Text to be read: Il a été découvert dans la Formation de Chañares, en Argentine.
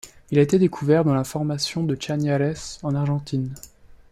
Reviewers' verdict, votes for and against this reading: accepted, 2, 0